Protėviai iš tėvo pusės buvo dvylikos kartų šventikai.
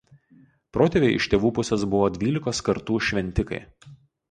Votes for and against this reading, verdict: 2, 2, rejected